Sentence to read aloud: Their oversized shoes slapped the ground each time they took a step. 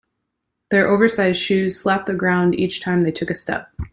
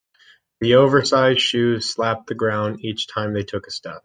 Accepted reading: first